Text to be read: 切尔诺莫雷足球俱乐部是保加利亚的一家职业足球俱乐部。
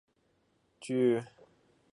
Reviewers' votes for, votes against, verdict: 0, 2, rejected